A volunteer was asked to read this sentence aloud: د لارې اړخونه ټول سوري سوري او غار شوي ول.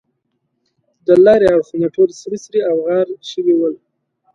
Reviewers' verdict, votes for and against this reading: accepted, 2, 0